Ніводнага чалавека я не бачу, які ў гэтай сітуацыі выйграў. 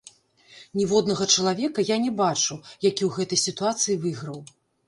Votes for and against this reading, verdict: 1, 2, rejected